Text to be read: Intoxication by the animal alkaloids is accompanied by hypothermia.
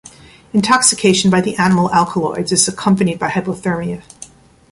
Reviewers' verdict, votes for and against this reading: accepted, 3, 0